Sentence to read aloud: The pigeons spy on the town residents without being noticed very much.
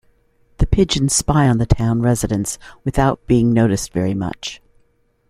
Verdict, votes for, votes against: accepted, 2, 0